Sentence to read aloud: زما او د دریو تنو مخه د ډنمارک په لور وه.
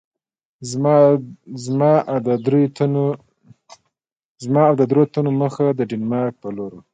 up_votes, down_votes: 2, 0